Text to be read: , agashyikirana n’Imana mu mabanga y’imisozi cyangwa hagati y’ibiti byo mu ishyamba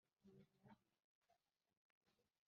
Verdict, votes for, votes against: rejected, 0, 2